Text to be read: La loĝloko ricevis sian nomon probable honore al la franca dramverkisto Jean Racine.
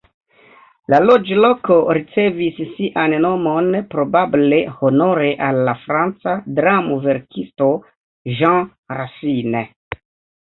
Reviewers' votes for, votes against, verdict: 0, 2, rejected